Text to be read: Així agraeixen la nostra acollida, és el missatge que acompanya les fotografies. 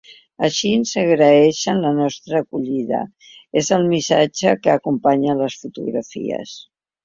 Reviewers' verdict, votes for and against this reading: rejected, 1, 2